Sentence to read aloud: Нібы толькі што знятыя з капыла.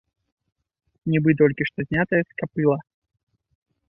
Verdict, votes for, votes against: rejected, 3, 4